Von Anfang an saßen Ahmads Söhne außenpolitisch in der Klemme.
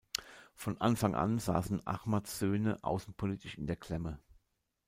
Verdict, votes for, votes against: accepted, 2, 0